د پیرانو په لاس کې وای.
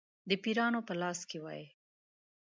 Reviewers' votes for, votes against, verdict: 2, 0, accepted